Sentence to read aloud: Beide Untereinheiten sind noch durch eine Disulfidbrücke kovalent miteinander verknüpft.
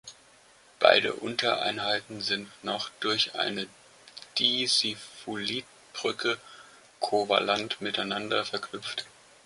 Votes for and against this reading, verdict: 0, 2, rejected